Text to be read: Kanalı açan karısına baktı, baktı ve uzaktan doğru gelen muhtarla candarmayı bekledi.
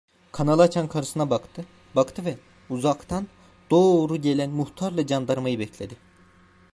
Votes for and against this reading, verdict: 1, 2, rejected